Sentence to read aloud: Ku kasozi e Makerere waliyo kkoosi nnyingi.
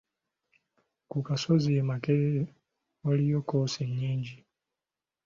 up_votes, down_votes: 2, 0